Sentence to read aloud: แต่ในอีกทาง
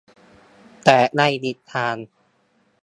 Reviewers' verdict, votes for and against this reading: accepted, 2, 0